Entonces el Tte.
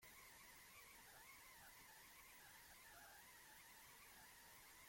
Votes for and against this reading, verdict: 0, 2, rejected